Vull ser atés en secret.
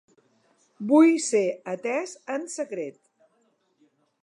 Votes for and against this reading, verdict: 2, 0, accepted